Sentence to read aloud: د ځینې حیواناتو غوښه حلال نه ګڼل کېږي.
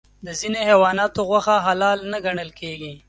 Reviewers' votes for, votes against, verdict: 2, 0, accepted